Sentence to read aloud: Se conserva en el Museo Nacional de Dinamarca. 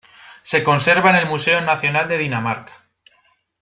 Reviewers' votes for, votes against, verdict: 2, 0, accepted